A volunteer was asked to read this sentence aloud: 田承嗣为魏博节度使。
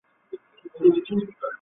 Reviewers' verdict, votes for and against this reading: accepted, 6, 0